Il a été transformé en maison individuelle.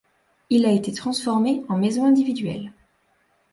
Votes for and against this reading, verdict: 2, 0, accepted